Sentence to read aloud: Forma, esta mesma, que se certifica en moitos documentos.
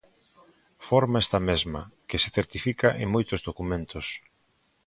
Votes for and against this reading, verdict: 2, 1, accepted